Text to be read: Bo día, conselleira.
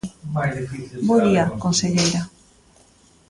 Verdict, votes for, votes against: rejected, 1, 2